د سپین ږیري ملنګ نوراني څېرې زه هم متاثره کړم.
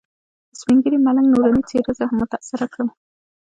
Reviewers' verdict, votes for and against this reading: accepted, 2, 0